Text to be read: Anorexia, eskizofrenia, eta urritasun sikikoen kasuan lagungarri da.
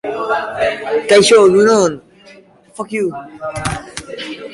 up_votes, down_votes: 0, 2